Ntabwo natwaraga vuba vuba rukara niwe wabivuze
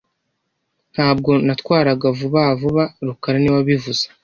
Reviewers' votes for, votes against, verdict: 2, 0, accepted